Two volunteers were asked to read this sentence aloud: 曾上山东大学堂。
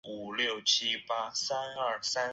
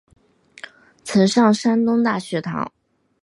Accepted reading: second